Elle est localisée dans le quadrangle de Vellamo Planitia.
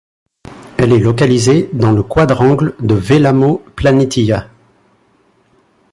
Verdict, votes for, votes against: accepted, 2, 0